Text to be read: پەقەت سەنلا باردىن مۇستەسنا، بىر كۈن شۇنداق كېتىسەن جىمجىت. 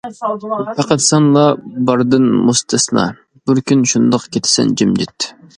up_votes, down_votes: 2, 0